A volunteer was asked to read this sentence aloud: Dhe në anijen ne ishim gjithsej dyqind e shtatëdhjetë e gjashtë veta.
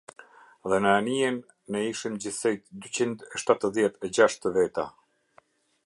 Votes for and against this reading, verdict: 2, 0, accepted